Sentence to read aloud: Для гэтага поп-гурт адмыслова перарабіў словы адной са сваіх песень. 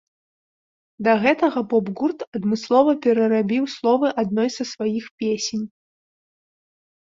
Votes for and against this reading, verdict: 0, 2, rejected